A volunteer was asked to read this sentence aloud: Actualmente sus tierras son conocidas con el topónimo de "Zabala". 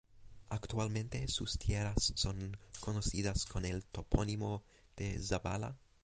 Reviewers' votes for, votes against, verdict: 2, 0, accepted